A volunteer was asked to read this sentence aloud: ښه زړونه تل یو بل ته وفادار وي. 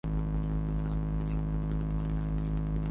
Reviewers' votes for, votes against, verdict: 0, 2, rejected